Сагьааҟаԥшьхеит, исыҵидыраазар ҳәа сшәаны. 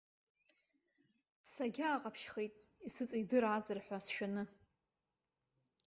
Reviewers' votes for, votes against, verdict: 2, 1, accepted